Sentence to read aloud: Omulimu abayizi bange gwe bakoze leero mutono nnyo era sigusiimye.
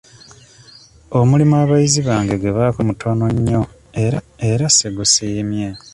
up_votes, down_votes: 1, 2